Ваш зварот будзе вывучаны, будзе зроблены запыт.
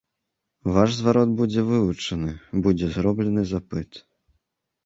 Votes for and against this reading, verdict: 3, 1, accepted